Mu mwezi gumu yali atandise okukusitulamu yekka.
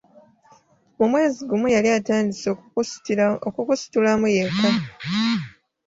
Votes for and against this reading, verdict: 1, 2, rejected